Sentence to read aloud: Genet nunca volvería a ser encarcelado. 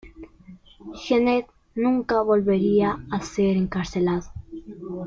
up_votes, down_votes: 1, 2